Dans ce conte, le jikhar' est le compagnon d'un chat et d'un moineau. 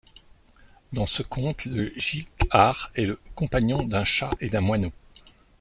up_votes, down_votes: 2, 0